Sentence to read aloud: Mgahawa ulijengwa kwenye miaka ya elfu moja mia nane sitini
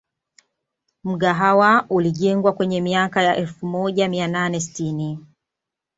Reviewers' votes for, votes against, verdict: 2, 0, accepted